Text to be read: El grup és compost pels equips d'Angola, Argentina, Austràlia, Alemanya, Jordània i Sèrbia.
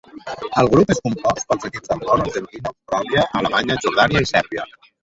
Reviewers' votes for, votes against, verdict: 0, 2, rejected